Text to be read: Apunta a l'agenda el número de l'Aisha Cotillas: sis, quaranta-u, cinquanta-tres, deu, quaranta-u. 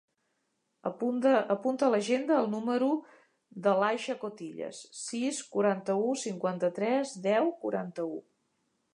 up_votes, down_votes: 0, 2